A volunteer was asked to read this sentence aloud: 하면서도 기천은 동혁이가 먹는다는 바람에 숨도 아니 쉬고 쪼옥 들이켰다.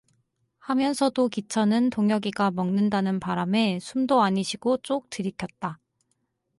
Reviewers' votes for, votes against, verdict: 4, 0, accepted